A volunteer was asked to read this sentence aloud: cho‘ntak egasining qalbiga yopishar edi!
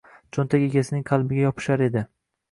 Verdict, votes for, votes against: rejected, 1, 2